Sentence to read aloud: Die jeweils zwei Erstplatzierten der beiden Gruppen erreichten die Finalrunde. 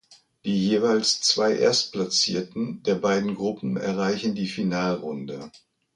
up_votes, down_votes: 0, 2